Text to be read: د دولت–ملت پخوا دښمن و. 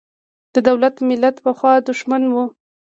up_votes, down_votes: 2, 0